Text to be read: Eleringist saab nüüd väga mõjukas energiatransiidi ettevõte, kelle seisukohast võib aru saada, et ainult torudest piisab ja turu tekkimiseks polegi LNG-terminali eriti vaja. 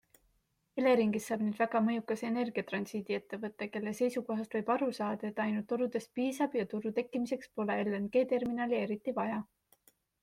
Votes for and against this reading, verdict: 2, 0, accepted